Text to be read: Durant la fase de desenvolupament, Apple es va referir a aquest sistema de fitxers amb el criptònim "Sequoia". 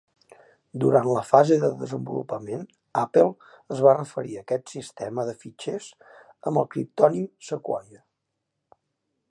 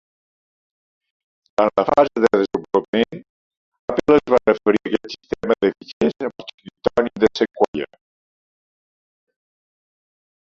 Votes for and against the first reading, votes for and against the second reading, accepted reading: 2, 0, 0, 2, first